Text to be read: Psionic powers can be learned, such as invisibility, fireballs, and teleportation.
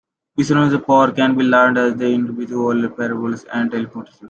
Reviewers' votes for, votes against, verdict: 0, 2, rejected